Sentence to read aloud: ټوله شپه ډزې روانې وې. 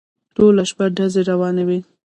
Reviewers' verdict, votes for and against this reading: rejected, 1, 2